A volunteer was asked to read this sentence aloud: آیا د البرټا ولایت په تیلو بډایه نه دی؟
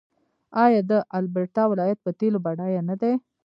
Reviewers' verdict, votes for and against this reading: rejected, 0, 2